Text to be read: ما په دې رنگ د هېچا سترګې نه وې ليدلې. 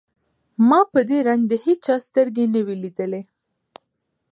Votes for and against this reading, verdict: 2, 0, accepted